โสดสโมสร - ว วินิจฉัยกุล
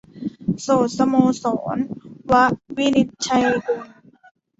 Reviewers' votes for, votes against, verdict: 1, 2, rejected